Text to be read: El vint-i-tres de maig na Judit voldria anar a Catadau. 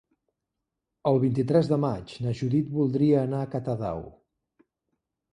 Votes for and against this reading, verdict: 3, 0, accepted